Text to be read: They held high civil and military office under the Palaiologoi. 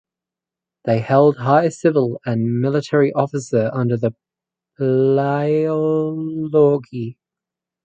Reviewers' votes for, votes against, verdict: 0, 4, rejected